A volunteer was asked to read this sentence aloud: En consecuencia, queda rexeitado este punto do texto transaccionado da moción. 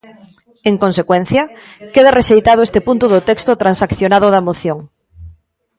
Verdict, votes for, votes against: accepted, 2, 1